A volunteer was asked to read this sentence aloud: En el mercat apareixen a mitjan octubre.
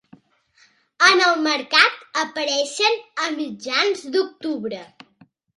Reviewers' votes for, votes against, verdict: 0, 2, rejected